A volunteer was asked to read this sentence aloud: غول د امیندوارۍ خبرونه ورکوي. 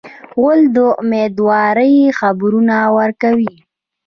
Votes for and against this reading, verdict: 0, 2, rejected